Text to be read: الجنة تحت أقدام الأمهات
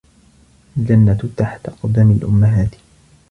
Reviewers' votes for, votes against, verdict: 1, 2, rejected